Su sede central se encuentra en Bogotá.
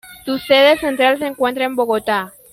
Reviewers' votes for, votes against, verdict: 2, 0, accepted